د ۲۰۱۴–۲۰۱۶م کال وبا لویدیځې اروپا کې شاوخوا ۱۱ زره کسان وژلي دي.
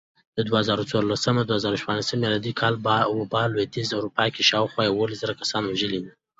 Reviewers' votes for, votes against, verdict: 0, 2, rejected